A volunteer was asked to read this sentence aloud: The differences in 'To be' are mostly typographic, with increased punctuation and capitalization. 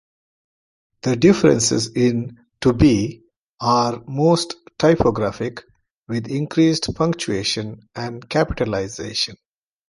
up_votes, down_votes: 0, 2